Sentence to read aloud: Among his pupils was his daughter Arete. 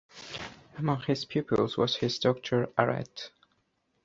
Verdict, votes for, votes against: accepted, 2, 0